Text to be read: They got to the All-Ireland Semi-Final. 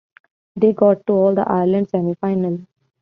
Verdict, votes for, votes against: rejected, 0, 2